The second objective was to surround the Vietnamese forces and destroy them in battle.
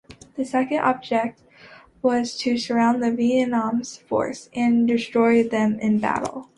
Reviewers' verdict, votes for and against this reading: rejected, 0, 2